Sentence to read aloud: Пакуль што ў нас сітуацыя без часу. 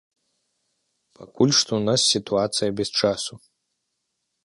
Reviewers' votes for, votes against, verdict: 1, 2, rejected